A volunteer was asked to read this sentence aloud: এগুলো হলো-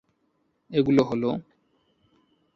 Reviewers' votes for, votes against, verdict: 2, 0, accepted